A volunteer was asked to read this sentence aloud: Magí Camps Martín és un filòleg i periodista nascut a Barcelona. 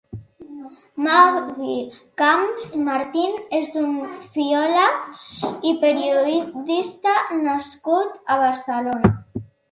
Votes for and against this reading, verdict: 0, 2, rejected